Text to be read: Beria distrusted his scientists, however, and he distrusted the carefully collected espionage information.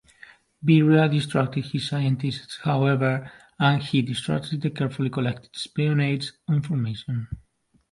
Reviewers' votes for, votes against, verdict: 0, 2, rejected